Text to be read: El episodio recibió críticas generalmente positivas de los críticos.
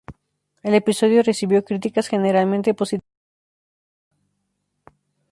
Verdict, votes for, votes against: rejected, 0, 2